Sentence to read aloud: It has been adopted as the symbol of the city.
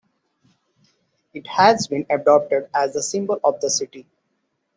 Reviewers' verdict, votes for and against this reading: accepted, 2, 1